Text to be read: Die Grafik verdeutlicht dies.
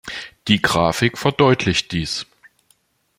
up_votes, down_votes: 2, 0